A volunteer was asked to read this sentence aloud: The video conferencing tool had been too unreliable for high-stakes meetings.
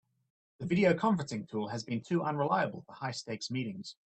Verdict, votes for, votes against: accepted, 2, 0